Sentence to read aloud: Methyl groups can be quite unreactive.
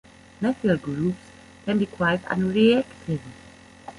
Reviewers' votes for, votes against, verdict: 2, 1, accepted